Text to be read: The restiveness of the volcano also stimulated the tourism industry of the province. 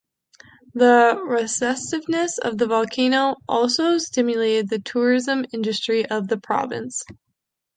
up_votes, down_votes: 0, 2